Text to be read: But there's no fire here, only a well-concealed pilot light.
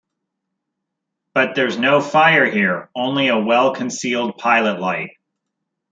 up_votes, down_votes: 2, 0